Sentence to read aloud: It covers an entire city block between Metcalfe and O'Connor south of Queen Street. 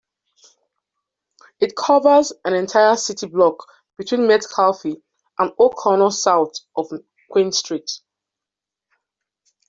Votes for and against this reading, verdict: 2, 0, accepted